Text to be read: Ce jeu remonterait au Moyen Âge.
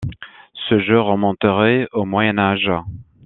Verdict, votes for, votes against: accepted, 2, 0